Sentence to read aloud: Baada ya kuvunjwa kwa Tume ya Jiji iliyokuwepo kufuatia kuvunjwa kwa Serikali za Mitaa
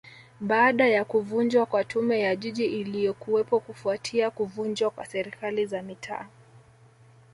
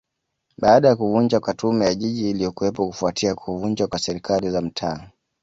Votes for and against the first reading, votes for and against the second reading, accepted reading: 0, 2, 2, 0, second